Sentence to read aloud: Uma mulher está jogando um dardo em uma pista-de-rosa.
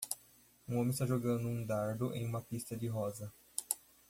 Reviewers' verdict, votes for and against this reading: rejected, 1, 2